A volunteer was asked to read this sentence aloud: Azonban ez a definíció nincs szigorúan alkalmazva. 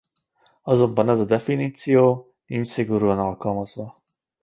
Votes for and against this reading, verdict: 1, 2, rejected